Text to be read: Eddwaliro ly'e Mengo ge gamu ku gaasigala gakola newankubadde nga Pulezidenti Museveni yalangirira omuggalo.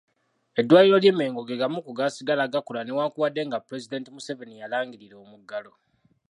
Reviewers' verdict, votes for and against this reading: accepted, 2, 0